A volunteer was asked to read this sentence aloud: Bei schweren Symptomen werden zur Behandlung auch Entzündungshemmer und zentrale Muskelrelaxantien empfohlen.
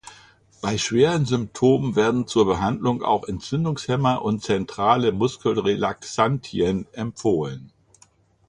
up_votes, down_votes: 2, 0